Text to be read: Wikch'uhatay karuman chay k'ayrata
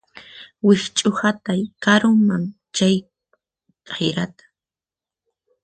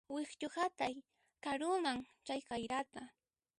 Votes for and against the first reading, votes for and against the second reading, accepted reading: 4, 2, 1, 2, first